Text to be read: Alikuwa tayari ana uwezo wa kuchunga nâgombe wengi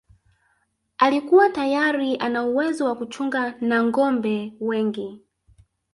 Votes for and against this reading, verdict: 1, 2, rejected